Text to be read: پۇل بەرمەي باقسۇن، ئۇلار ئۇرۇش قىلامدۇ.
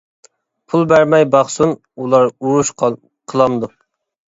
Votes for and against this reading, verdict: 0, 2, rejected